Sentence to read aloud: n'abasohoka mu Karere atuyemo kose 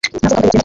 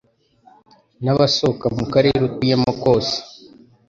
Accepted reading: second